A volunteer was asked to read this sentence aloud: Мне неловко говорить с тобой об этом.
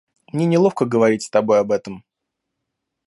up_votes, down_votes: 0, 2